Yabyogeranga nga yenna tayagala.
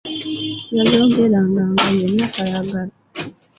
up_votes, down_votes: 1, 2